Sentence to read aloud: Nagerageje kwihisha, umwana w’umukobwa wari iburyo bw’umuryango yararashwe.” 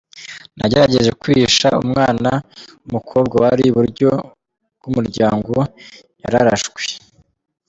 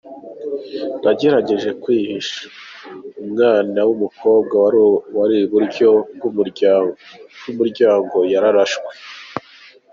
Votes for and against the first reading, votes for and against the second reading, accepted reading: 2, 0, 1, 3, first